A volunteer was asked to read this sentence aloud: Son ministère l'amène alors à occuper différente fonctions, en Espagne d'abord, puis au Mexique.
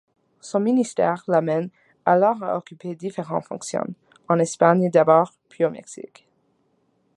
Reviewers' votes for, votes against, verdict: 1, 2, rejected